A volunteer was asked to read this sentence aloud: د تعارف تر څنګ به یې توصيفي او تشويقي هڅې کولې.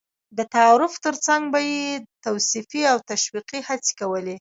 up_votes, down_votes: 0, 2